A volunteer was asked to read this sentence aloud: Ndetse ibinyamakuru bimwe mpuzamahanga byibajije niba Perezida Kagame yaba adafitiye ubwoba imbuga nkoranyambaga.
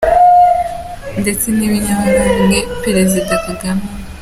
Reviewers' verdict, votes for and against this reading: rejected, 0, 2